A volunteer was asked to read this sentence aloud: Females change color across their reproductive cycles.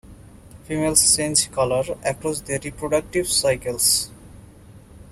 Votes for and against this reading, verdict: 2, 0, accepted